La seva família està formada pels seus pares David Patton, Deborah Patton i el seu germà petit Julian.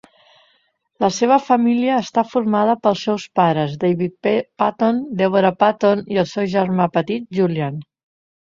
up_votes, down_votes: 0, 2